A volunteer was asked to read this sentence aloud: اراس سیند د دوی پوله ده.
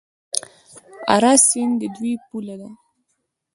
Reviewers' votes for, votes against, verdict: 2, 1, accepted